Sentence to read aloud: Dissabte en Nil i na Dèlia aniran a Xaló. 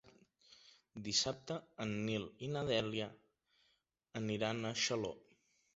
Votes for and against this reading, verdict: 3, 0, accepted